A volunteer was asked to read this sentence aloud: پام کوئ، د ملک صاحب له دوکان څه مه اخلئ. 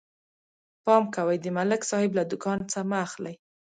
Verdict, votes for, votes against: rejected, 1, 2